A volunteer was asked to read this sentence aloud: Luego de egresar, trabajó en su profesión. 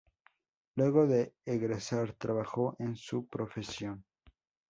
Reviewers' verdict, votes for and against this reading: accepted, 2, 0